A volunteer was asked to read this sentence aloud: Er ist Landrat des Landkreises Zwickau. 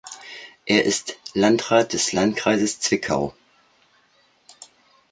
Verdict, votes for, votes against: accepted, 2, 0